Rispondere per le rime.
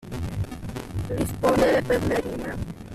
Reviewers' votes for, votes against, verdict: 2, 1, accepted